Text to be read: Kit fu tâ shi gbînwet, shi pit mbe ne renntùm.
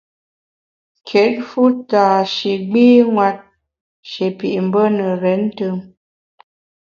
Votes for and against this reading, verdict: 2, 0, accepted